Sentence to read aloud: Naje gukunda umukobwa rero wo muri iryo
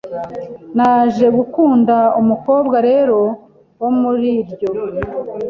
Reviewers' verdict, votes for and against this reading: accepted, 2, 1